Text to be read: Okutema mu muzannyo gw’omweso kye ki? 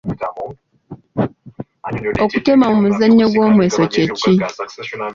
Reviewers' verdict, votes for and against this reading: rejected, 0, 2